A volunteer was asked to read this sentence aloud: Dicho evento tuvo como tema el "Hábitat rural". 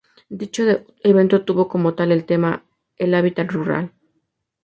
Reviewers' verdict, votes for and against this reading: rejected, 0, 2